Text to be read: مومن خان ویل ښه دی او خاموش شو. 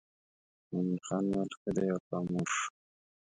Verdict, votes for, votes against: rejected, 0, 2